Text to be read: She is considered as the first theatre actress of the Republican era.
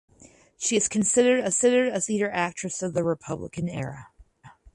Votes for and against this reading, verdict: 4, 6, rejected